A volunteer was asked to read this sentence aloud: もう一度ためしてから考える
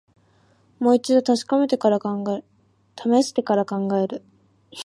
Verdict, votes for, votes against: rejected, 0, 2